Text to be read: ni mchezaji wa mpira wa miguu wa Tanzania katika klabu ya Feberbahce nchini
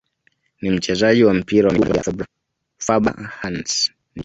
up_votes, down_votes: 1, 2